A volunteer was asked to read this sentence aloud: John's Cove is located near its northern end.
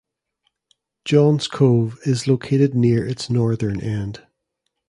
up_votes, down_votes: 2, 0